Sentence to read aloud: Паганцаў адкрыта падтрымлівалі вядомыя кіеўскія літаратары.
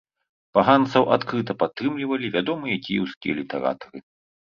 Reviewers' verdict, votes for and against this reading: accepted, 2, 0